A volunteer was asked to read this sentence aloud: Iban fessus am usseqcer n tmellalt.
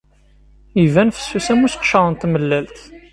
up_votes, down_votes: 2, 0